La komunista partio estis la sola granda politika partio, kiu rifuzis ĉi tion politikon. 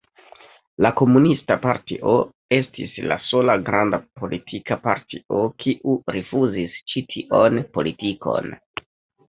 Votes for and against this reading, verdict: 2, 0, accepted